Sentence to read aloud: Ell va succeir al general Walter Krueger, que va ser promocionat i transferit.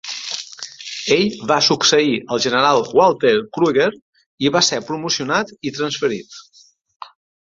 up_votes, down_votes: 1, 2